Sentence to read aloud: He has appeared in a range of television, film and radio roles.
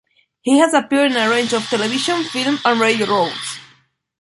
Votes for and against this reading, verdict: 0, 2, rejected